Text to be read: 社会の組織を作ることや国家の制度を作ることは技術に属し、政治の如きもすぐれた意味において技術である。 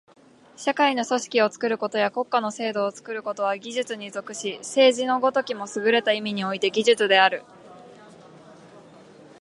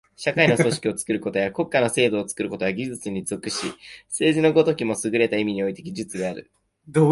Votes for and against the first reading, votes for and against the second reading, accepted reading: 3, 0, 1, 2, first